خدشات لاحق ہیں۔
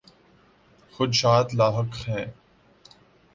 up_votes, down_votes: 2, 0